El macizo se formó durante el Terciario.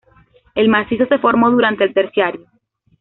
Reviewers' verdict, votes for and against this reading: accepted, 2, 1